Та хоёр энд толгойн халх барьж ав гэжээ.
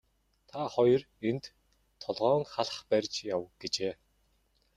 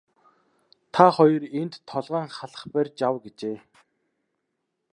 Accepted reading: second